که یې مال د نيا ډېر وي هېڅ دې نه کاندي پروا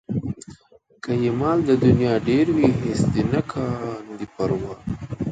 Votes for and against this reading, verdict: 2, 0, accepted